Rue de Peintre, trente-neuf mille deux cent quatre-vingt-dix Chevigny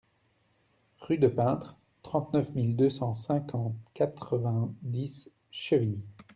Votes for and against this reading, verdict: 0, 2, rejected